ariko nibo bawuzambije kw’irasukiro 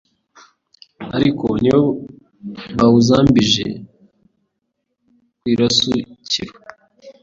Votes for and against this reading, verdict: 0, 2, rejected